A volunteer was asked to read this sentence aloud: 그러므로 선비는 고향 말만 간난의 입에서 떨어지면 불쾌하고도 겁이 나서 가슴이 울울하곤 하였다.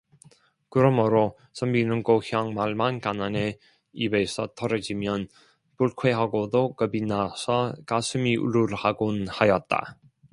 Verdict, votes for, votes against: rejected, 1, 2